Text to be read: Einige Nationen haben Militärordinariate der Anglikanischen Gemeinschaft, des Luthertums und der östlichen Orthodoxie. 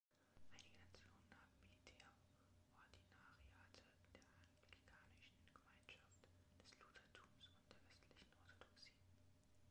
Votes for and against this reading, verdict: 0, 2, rejected